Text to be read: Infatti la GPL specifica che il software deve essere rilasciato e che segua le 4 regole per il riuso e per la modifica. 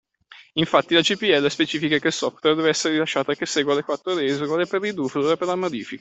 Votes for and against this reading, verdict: 0, 2, rejected